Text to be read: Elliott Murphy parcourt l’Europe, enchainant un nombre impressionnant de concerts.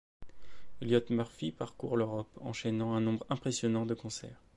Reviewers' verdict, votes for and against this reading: accepted, 2, 0